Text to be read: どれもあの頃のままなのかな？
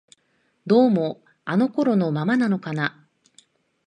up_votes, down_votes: 1, 2